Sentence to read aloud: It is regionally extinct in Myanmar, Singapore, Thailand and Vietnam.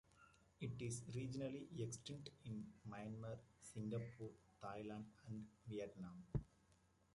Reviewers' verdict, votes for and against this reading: rejected, 1, 2